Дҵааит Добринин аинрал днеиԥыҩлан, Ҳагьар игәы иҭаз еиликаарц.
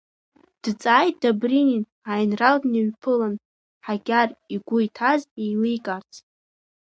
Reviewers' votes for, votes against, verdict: 2, 1, accepted